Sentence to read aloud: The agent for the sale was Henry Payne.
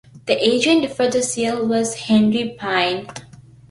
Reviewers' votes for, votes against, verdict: 2, 1, accepted